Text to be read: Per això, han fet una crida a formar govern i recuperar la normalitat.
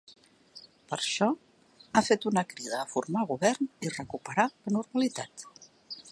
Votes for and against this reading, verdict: 1, 2, rejected